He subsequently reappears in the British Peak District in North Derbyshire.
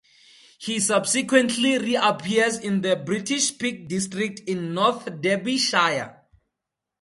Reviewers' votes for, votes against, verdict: 2, 0, accepted